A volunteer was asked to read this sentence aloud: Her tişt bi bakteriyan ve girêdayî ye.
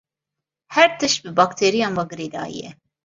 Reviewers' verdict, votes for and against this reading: accepted, 2, 0